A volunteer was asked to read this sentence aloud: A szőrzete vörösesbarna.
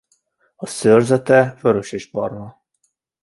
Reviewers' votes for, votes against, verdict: 2, 0, accepted